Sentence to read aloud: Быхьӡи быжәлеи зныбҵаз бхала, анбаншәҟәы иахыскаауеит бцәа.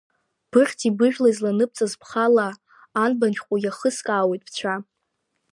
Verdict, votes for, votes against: rejected, 1, 2